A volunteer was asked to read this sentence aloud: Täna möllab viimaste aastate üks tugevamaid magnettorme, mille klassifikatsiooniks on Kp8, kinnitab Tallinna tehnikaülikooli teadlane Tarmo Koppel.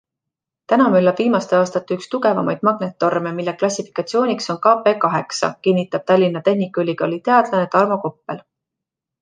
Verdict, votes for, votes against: rejected, 0, 2